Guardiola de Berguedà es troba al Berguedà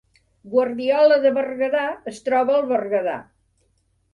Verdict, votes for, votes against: accepted, 3, 0